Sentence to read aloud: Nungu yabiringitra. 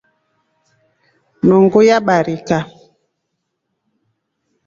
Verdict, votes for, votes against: rejected, 1, 2